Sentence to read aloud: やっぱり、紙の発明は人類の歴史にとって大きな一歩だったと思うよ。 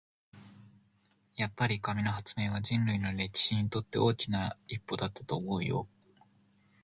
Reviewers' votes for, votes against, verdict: 2, 0, accepted